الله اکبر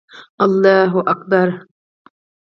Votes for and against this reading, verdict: 4, 2, accepted